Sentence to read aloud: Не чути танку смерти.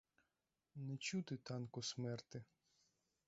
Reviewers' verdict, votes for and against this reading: rejected, 0, 4